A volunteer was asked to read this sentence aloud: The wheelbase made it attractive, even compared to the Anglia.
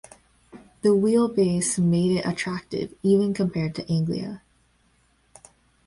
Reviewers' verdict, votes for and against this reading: rejected, 1, 2